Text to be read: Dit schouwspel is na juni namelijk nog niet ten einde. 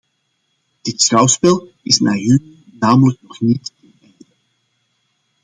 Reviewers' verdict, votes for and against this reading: rejected, 1, 2